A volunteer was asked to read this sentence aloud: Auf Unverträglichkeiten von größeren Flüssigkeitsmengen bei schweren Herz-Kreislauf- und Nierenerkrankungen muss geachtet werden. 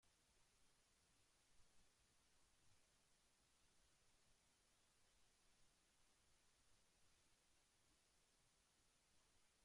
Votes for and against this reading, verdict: 0, 2, rejected